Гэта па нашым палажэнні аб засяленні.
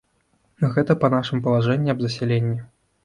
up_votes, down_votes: 2, 0